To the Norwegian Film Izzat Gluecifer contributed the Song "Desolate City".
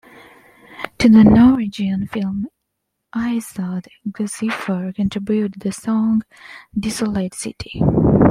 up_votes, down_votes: 2, 1